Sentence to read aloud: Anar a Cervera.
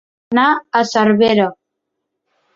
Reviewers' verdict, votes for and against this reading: rejected, 1, 2